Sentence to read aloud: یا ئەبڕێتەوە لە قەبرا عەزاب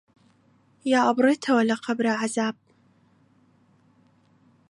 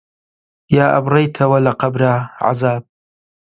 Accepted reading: first